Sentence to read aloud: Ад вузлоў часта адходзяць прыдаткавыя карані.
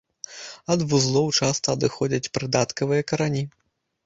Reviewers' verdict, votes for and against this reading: rejected, 1, 2